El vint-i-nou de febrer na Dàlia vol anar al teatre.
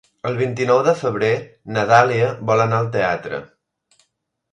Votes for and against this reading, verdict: 3, 0, accepted